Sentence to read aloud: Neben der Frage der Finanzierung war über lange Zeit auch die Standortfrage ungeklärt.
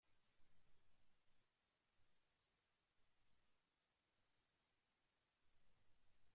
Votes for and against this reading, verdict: 0, 2, rejected